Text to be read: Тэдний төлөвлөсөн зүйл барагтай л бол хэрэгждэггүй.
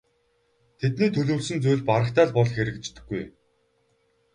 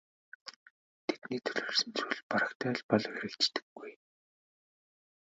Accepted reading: first